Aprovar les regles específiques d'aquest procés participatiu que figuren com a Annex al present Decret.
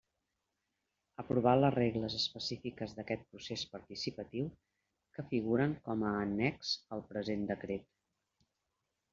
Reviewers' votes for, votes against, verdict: 1, 2, rejected